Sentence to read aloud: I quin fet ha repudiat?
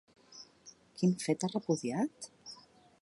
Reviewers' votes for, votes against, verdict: 0, 2, rejected